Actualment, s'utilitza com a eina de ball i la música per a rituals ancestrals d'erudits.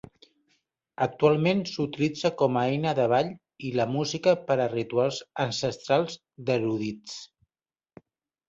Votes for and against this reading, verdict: 3, 0, accepted